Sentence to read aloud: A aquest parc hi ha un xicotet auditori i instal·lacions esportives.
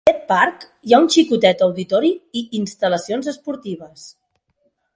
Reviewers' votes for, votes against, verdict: 0, 4, rejected